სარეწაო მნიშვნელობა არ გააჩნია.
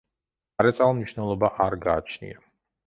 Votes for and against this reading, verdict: 0, 2, rejected